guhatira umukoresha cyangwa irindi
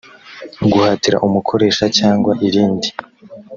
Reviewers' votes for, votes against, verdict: 3, 0, accepted